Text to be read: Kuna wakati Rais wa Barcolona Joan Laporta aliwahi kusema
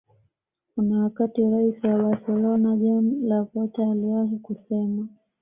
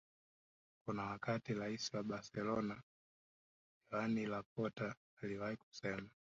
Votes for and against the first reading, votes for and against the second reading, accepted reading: 2, 0, 0, 2, first